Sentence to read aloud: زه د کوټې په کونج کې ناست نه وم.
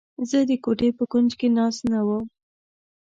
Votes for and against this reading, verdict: 2, 0, accepted